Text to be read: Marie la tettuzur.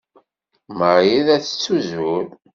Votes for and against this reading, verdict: 2, 0, accepted